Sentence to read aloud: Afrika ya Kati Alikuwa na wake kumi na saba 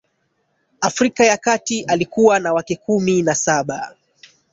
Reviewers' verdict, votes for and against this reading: rejected, 1, 2